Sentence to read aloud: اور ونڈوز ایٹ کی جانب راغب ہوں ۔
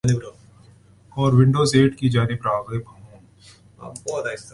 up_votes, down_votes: 0, 2